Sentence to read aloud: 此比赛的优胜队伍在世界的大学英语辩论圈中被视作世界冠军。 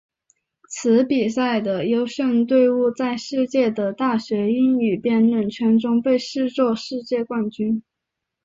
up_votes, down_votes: 5, 0